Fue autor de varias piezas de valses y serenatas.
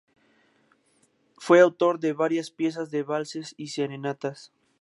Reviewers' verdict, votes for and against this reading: accepted, 2, 0